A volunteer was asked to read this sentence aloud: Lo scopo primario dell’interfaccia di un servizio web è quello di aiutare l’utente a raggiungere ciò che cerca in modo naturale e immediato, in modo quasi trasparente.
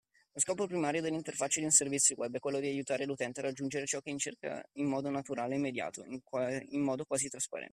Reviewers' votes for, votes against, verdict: 0, 2, rejected